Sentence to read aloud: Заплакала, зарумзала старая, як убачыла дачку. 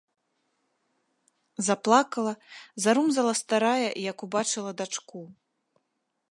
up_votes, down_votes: 2, 0